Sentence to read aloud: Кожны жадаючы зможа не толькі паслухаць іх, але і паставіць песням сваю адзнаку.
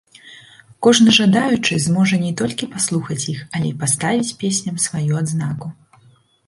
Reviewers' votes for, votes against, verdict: 1, 2, rejected